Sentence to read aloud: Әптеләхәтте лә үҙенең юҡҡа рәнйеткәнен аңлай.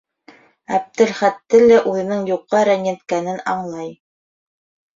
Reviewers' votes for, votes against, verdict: 1, 2, rejected